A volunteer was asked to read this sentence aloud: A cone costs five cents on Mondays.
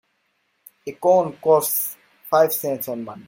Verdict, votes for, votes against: rejected, 1, 2